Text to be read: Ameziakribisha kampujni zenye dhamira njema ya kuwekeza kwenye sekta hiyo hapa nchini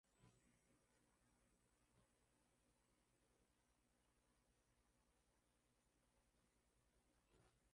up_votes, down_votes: 0, 3